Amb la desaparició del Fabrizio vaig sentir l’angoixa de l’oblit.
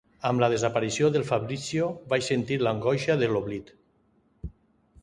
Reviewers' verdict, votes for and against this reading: accepted, 2, 0